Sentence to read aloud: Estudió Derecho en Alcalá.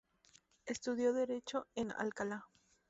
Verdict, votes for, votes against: rejected, 0, 2